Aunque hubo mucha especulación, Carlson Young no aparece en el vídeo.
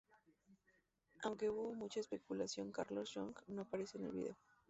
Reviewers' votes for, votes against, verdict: 2, 0, accepted